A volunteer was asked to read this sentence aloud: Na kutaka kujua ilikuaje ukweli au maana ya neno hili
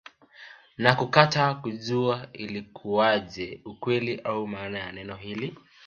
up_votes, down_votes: 0, 2